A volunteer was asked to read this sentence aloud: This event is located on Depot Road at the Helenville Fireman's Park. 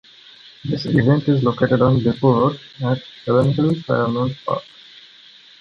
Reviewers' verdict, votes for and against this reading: rejected, 1, 2